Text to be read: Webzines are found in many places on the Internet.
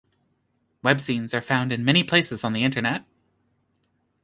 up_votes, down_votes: 2, 0